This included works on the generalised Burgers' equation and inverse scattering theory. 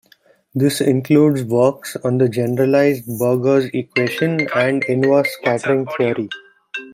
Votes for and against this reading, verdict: 1, 2, rejected